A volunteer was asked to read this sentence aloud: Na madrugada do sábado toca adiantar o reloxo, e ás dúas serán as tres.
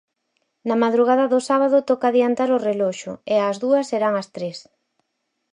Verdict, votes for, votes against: accepted, 4, 0